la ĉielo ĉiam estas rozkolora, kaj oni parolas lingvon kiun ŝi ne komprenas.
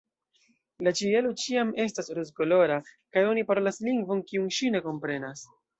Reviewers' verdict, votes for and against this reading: rejected, 1, 2